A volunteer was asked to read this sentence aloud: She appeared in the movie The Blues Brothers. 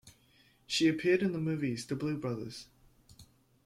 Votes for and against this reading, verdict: 1, 2, rejected